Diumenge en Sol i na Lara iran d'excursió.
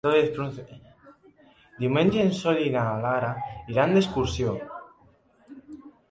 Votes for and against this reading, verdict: 0, 2, rejected